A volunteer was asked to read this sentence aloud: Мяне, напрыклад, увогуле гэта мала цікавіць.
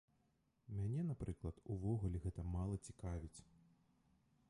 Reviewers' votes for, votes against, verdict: 1, 2, rejected